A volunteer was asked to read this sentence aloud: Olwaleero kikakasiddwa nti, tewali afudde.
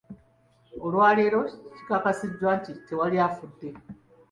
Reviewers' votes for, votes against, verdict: 2, 1, accepted